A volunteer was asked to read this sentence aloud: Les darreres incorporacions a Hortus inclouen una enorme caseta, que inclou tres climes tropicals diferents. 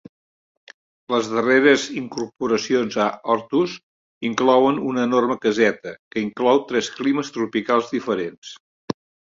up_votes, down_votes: 4, 0